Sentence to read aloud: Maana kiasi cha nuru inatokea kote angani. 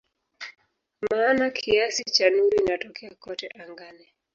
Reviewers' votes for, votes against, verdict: 2, 0, accepted